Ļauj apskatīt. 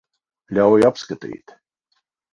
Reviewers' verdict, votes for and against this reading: accepted, 4, 0